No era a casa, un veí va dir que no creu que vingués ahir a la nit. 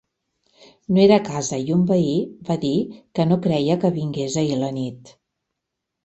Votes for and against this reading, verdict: 0, 2, rejected